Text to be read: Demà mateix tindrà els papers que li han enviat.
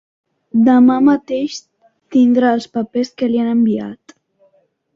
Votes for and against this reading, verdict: 3, 0, accepted